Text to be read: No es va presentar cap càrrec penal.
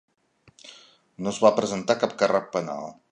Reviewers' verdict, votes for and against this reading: accepted, 3, 0